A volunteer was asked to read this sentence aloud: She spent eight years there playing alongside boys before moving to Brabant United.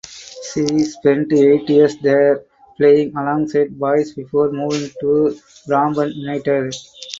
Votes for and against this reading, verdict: 2, 4, rejected